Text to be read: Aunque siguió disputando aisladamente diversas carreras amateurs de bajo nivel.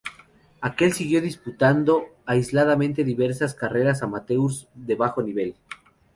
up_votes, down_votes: 0, 4